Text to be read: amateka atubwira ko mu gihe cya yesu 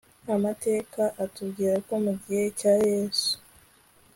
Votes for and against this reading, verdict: 2, 0, accepted